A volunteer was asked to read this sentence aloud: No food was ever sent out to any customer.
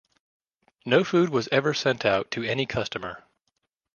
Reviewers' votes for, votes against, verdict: 2, 0, accepted